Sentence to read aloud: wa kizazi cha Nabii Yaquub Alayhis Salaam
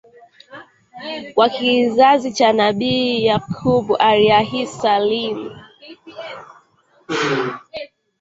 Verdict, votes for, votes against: rejected, 0, 2